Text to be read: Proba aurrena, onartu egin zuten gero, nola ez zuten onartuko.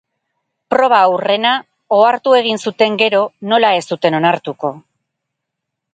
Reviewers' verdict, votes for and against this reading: rejected, 2, 2